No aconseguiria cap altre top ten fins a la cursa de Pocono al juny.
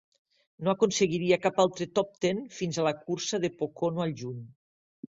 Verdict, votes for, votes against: accepted, 3, 0